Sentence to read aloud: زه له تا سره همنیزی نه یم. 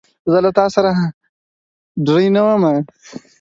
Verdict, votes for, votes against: rejected, 0, 4